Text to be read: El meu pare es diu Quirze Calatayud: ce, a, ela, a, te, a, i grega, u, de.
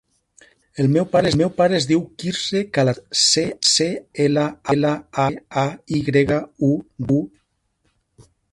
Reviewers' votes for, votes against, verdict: 0, 2, rejected